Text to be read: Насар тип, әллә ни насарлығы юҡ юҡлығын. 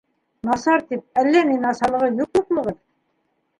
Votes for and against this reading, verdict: 1, 2, rejected